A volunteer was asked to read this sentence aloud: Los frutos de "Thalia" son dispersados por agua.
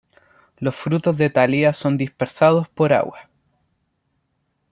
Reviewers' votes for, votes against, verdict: 2, 0, accepted